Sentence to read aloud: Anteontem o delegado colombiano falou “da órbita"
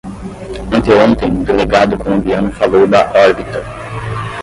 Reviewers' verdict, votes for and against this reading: rejected, 5, 10